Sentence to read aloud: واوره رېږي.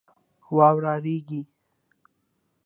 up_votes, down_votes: 2, 0